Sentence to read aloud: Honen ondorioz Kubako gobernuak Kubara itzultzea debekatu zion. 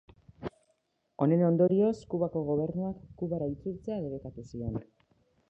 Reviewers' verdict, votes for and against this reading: rejected, 1, 2